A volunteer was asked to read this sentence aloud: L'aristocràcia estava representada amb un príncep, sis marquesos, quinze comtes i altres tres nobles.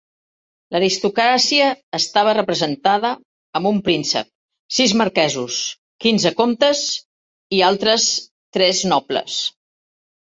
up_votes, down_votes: 3, 0